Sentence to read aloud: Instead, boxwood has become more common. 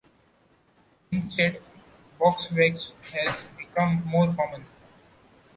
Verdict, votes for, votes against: rejected, 0, 2